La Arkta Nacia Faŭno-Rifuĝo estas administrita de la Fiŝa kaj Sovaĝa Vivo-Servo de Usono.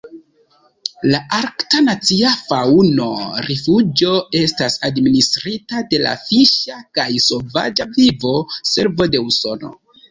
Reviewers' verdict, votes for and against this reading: accepted, 2, 0